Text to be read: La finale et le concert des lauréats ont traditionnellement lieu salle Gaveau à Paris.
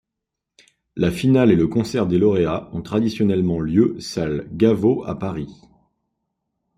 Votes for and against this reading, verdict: 2, 0, accepted